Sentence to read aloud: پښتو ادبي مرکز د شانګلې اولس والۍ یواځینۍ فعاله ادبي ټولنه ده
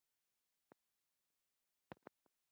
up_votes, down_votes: 0, 2